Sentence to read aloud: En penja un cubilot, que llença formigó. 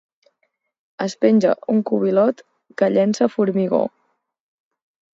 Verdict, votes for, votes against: rejected, 2, 4